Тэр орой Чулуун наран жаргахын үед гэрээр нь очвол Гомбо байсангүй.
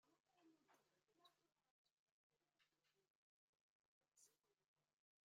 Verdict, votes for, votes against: rejected, 0, 2